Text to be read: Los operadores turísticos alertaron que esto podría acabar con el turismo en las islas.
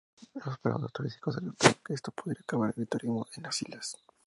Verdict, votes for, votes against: accepted, 4, 0